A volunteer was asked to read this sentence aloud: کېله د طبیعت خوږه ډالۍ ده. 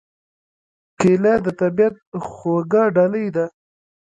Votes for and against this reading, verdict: 2, 0, accepted